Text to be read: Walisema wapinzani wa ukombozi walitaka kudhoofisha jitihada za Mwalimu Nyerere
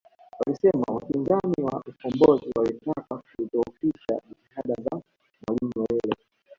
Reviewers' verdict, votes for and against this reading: rejected, 0, 2